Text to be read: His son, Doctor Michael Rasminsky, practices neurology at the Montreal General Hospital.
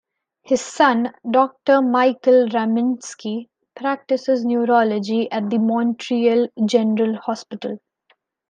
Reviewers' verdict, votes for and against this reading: rejected, 0, 2